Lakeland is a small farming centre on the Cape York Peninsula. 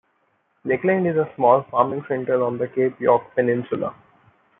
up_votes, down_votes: 2, 0